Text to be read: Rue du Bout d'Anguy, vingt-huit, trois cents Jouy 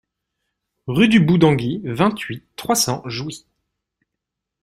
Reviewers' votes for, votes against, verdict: 2, 0, accepted